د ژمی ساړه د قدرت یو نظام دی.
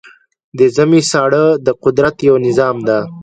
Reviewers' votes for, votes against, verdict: 2, 0, accepted